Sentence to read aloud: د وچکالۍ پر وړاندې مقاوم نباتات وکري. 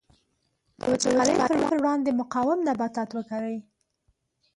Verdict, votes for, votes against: rejected, 1, 4